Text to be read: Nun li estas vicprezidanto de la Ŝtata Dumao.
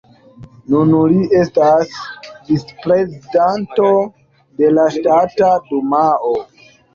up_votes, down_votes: 0, 2